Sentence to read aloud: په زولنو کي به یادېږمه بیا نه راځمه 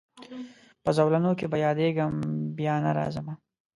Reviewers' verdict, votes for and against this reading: accepted, 6, 0